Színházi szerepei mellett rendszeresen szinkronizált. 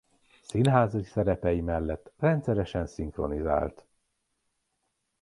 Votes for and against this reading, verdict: 2, 0, accepted